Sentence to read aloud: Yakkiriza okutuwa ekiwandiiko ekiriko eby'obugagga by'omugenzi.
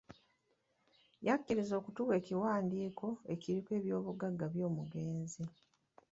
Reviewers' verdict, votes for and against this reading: accepted, 3, 0